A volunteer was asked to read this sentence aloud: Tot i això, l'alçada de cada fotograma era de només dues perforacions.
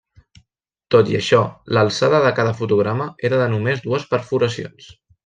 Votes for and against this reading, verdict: 3, 0, accepted